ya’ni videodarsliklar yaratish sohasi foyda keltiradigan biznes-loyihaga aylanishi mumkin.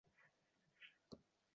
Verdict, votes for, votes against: rejected, 0, 2